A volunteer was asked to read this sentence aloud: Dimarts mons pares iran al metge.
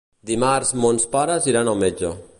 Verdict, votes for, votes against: accepted, 3, 0